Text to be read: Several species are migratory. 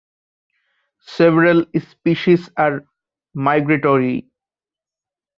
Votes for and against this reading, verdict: 1, 2, rejected